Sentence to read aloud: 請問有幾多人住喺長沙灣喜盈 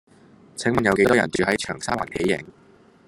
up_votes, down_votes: 0, 2